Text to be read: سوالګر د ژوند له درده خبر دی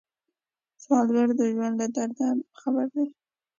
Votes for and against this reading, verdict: 2, 0, accepted